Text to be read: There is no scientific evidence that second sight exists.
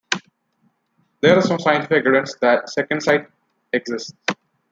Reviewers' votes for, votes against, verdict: 1, 2, rejected